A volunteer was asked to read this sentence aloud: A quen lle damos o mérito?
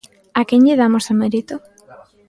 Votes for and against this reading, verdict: 2, 0, accepted